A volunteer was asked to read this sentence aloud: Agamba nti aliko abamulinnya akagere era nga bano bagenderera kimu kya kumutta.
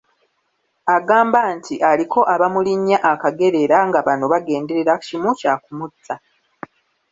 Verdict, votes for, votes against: accepted, 2, 1